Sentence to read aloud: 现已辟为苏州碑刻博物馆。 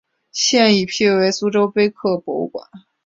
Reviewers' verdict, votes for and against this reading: accepted, 4, 0